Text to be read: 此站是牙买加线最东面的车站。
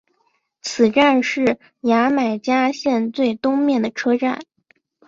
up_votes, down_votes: 3, 0